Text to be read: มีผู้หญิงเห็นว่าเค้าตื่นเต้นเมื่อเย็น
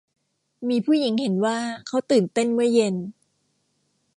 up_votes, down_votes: 2, 0